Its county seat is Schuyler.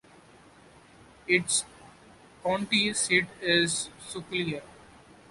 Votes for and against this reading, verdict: 0, 2, rejected